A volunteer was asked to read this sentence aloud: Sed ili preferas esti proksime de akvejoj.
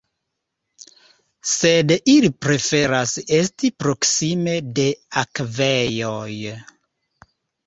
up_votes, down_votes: 2, 0